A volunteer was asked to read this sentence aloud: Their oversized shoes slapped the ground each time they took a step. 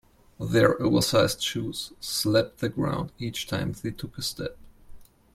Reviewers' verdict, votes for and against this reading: accepted, 2, 0